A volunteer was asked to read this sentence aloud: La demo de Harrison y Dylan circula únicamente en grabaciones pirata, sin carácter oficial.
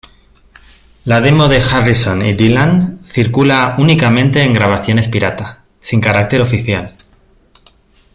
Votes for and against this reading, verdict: 2, 0, accepted